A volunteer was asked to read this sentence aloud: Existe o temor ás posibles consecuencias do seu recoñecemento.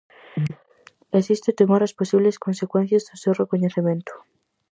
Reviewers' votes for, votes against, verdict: 4, 0, accepted